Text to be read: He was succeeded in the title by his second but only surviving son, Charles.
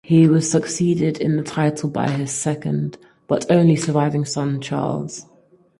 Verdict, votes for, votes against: accepted, 4, 0